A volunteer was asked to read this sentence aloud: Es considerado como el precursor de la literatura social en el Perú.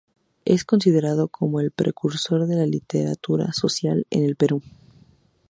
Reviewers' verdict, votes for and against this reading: accepted, 2, 0